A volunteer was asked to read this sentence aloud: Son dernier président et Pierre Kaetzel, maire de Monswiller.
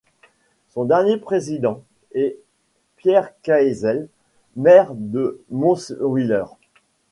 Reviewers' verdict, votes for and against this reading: rejected, 1, 2